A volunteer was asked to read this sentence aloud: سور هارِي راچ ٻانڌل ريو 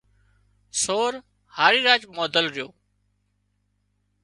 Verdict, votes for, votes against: accepted, 2, 0